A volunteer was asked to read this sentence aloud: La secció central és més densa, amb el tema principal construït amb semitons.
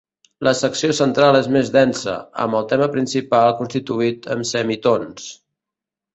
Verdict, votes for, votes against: rejected, 0, 2